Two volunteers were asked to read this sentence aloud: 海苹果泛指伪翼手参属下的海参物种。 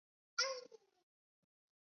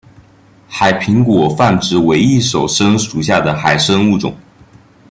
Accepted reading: second